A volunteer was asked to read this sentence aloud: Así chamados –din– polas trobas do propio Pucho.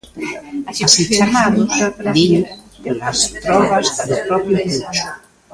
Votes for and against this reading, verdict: 0, 2, rejected